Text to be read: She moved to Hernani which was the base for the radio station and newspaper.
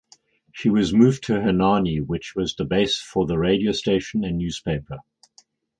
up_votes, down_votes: 2, 2